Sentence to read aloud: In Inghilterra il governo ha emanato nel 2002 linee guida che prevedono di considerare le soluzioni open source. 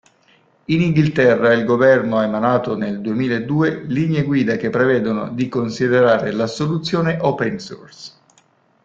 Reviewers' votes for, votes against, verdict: 0, 2, rejected